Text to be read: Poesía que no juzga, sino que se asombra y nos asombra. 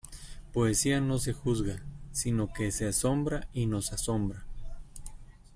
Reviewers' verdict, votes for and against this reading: rejected, 0, 2